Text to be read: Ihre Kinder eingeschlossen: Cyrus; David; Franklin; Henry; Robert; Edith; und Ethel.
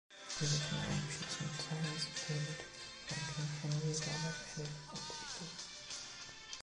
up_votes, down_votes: 0, 2